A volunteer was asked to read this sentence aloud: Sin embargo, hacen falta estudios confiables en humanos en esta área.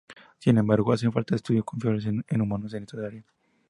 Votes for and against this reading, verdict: 2, 0, accepted